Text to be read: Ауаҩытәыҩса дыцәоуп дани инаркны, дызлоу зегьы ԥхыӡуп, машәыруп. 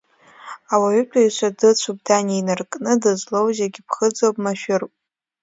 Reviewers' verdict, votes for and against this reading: accepted, 2, 0